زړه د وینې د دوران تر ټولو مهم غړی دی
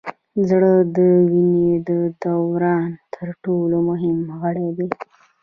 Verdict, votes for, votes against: rejected, 1, 2